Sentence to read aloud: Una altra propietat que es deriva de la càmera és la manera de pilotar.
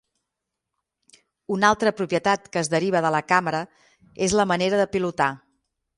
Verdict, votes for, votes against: accepted, 6, 0